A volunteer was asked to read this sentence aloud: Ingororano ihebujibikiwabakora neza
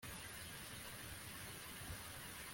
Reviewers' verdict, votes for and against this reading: rejected, 0, 2